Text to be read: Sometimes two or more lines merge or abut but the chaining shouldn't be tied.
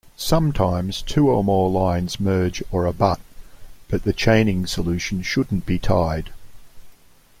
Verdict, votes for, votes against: rejected, 1, 2